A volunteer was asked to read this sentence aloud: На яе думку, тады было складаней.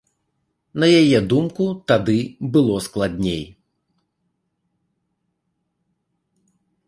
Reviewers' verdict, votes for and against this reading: rejected, 1, 2